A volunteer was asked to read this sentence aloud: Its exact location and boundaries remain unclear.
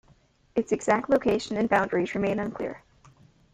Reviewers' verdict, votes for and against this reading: accepted, 2, 0